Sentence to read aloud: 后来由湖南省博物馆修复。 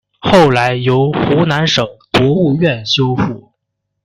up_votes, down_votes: 1, 2